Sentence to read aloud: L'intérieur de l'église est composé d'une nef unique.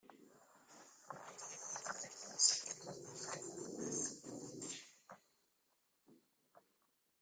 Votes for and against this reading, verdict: 1, 2, rejected